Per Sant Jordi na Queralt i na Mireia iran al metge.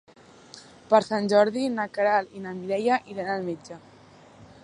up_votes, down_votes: 3, 0